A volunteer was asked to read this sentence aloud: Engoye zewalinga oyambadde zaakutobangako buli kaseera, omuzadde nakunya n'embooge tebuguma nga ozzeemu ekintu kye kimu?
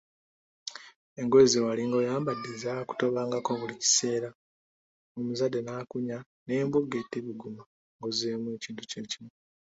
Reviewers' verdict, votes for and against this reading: accepted, 2, 1